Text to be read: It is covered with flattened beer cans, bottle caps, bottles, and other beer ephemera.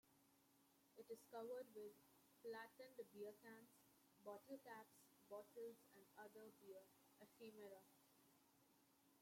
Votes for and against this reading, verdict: 1, 2, rejected